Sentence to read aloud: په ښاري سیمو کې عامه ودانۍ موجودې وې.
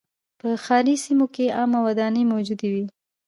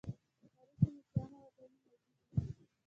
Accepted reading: first